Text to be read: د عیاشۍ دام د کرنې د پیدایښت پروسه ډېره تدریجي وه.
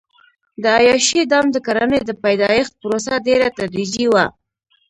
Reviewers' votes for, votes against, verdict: 1, 2, rejected